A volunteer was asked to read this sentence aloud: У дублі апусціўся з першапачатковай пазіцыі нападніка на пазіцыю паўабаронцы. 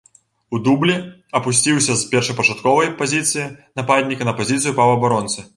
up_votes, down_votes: 4, 0